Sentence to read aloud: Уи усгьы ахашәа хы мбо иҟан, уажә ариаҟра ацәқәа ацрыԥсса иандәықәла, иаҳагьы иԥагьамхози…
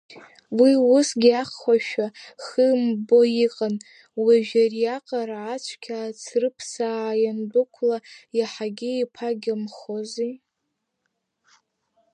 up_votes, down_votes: 0, 2